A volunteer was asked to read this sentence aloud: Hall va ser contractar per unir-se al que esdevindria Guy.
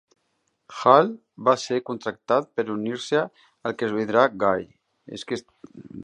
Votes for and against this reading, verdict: 0, 3, rejected